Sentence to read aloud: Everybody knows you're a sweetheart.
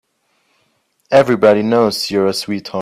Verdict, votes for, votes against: rejected, 0, 3